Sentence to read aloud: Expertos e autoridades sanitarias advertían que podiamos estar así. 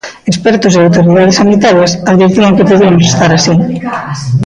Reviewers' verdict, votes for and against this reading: rejected, 0, 2